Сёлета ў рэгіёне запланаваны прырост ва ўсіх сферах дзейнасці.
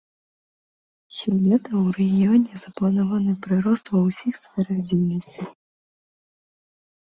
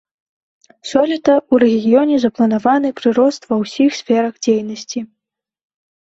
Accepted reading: second